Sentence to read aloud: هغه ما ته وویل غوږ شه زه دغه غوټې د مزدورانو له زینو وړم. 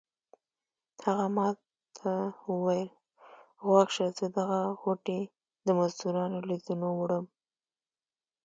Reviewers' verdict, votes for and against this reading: accepted, 2, 0